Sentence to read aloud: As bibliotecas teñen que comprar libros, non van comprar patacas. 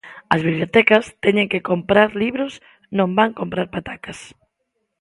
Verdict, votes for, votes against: accepted, 2, 0